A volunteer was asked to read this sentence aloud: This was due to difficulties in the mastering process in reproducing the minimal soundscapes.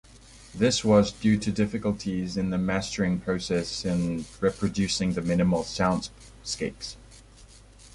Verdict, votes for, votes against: accepted, 2, 0